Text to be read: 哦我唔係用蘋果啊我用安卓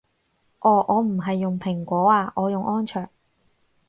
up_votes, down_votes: 4, 0